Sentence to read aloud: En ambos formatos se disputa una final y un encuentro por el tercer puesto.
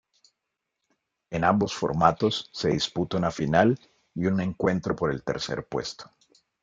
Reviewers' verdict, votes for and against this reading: accepted, 2, 0